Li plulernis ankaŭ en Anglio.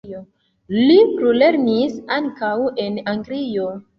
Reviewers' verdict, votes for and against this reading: accepted, 2, 0